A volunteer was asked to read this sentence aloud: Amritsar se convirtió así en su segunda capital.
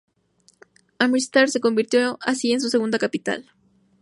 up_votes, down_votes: 6, 0